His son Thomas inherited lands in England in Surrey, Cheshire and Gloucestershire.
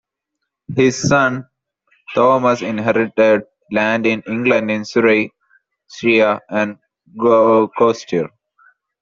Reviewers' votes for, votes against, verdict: 0, 2, rejected